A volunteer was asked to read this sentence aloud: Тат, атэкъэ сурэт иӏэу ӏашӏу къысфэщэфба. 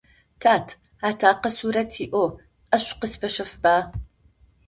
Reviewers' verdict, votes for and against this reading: accepted, 4, 0